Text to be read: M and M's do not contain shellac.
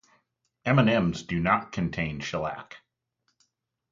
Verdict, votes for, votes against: rejected, 0, 2